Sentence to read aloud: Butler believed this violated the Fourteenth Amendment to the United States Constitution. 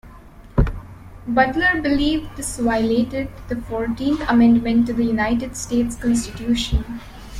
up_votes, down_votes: 2, 0